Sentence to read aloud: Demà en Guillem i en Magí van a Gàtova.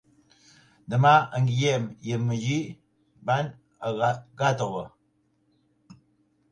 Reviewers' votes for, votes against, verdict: 0, 2, rejected